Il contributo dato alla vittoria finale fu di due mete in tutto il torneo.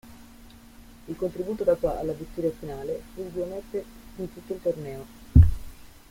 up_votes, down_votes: 0, 2